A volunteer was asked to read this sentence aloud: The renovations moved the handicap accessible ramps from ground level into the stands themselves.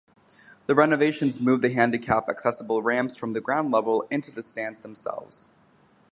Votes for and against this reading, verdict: 2, 0, accepted